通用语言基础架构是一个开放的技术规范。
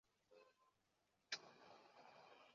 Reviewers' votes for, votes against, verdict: 0, 2, rejected